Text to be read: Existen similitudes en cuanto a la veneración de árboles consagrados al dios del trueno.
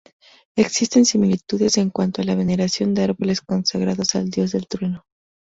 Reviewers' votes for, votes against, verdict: 4, 0, accepted